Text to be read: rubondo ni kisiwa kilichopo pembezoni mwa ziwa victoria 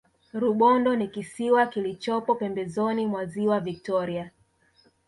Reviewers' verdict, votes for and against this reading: rejected, 1, 2